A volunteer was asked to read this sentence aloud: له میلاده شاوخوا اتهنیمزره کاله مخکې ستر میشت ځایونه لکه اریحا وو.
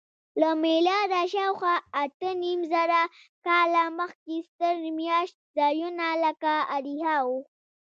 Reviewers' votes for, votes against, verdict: 2, 0, accepted